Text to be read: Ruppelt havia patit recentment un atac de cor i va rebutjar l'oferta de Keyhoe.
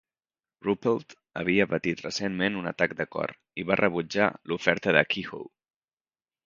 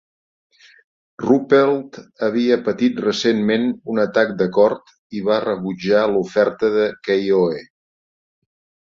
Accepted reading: first